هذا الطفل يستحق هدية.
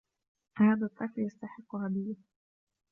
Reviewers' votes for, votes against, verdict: 2, 1, accepted